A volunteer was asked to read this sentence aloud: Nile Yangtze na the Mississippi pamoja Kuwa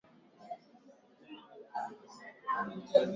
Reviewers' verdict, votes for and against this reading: rejected, 0, 2